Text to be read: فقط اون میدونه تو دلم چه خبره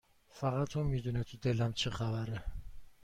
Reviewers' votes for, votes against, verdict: 2, 0, accepted